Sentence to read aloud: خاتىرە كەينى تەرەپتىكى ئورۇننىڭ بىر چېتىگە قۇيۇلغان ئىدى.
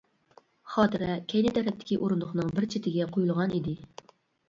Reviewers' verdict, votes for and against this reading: rejected, 1, 2